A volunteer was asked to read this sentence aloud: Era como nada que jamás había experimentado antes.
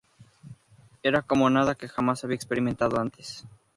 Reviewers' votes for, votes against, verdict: 4, 0, accepted